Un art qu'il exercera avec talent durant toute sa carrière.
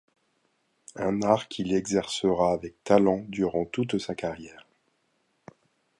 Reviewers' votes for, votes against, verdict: 2, 0, accepted